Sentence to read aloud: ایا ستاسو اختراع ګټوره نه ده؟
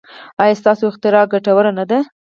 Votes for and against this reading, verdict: 4, 0, accepted